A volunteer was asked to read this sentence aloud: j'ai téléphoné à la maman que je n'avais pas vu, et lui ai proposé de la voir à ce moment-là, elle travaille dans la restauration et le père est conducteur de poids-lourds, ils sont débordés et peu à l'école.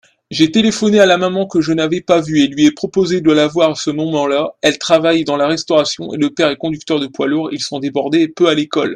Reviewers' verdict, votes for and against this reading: accepted, 2, 0